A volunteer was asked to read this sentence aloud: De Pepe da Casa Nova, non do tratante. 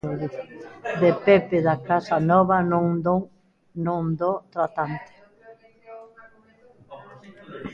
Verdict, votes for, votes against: rejected, 0, 2